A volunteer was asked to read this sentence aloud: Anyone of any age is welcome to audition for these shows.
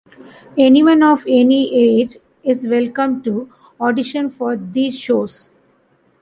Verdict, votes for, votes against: accepted, 2, 0